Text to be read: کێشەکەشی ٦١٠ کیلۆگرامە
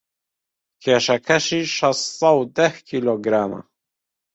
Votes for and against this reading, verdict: 0, 2, rejected